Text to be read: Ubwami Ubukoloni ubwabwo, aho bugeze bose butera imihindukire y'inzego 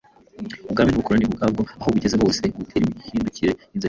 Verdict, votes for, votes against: rejected, 0, 2